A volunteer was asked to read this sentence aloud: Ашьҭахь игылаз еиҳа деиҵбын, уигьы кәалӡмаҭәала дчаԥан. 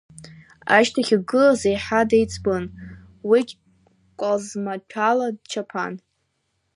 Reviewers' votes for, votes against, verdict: 0, 2, rejected